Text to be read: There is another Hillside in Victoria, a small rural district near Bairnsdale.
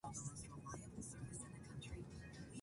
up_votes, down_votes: 0, 2